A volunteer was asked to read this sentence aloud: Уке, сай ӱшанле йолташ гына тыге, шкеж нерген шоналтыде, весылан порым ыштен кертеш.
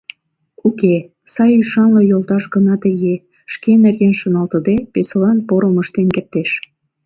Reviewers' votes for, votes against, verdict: 1, 2, rejected